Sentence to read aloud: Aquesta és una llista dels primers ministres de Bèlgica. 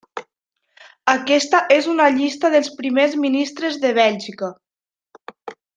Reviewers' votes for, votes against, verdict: 0, 2, rejected